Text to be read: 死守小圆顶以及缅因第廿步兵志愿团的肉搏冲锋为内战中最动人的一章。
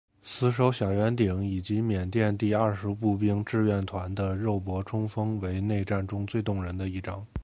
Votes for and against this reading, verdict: 2, 0, accepted